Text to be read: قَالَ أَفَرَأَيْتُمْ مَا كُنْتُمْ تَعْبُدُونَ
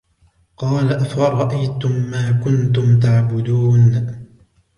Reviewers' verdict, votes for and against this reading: accepted, 2, 0